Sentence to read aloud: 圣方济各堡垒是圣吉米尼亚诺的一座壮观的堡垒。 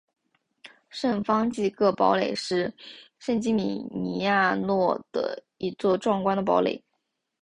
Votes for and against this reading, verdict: 3, 0, accepted